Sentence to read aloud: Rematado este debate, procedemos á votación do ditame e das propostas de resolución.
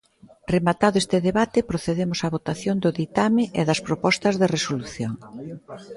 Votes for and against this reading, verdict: 2, 1, accepted